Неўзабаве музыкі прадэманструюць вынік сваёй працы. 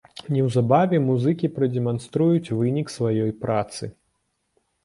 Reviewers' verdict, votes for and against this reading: rejected, 1, 2